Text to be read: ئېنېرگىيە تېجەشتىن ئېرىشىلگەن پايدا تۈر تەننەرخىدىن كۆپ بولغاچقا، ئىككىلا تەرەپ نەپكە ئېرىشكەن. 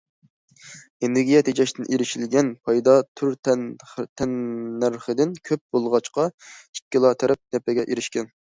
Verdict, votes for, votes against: rejected, 0, 2